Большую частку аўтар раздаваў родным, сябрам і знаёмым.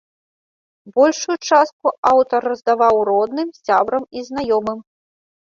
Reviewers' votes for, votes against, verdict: 1, 2, rejected